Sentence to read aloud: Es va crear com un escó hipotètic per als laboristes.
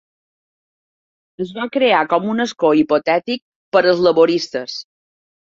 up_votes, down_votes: 3, 0